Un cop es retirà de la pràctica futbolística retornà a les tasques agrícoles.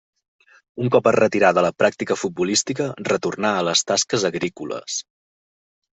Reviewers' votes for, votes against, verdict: 2, 0, accepted